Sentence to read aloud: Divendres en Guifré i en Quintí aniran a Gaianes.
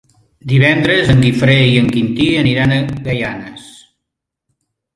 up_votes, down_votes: 3, 1